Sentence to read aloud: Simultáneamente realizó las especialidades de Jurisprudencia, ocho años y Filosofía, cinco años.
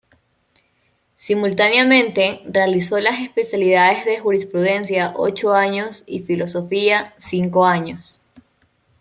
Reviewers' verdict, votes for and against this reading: accepted, 2, 0